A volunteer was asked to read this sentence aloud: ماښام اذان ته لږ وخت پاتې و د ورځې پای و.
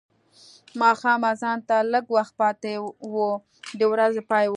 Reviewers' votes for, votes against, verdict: 2, 0, accepted